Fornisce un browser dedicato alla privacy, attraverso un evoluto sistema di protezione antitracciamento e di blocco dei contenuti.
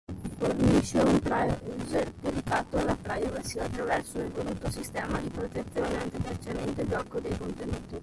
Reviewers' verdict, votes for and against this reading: accepted, 2, 1